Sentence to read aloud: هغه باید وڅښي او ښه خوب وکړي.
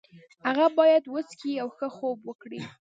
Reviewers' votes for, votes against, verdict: 2, 0, accepted